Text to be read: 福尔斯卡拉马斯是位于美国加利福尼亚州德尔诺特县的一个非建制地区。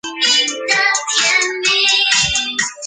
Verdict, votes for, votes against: rejected, 0, 2